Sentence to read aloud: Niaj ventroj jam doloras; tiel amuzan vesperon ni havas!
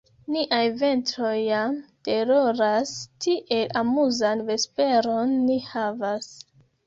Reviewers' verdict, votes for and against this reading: rejected, 0, 2